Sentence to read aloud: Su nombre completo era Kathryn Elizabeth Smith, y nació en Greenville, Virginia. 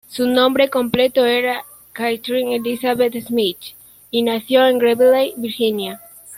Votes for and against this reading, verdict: 1, 2, rejected